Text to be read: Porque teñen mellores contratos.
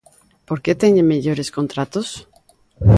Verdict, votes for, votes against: accepted, 3, 0